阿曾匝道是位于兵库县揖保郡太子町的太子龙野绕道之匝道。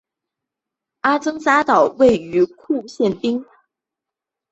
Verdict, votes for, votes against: rejected, 0, 2